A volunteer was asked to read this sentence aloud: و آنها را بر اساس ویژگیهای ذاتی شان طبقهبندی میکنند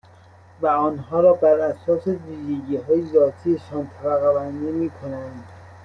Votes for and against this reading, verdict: 2, 1, accepted